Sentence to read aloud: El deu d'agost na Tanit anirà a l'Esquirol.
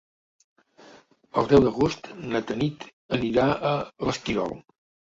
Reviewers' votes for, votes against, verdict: 2, 0, accepted